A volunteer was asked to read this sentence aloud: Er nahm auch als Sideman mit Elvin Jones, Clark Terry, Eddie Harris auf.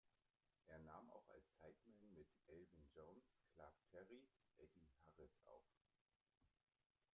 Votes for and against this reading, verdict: 0, 2, rejected